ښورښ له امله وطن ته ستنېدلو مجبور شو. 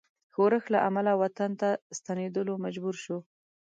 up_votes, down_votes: 2, 0